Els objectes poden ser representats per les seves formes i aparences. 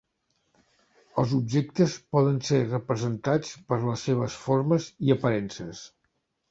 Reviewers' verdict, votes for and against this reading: accepted, 3, 0